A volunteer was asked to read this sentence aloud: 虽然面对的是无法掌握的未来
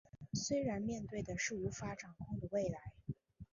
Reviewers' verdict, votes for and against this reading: accepted, 4, 1